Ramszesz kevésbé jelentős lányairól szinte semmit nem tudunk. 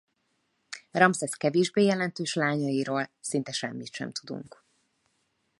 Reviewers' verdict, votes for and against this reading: rejected, 0, 2